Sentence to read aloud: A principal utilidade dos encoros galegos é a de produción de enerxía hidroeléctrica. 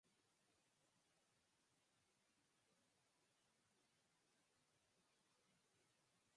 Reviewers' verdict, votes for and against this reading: rejected, 0, 4